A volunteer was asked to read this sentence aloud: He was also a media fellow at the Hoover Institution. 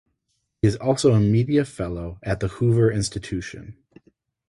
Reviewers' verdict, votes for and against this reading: rejected, 0, 2